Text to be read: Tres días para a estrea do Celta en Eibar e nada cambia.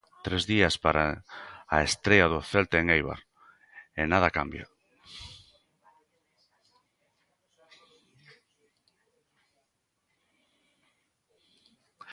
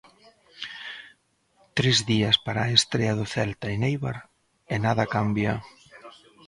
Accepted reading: first